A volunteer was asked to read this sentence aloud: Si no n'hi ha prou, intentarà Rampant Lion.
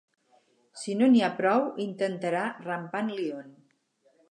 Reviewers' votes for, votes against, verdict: 4, 0, accepted